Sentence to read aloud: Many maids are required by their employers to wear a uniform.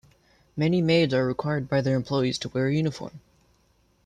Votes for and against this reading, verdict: 0, 2, rejected